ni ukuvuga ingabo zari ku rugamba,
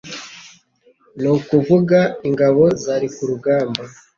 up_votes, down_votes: 2, 0